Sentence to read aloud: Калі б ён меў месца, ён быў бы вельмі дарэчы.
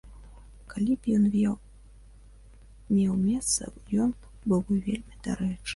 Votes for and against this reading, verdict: 0, 2, rejected